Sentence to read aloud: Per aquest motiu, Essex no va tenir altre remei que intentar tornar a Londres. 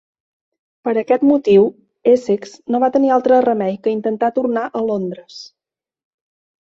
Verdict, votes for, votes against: accepted, 4, 0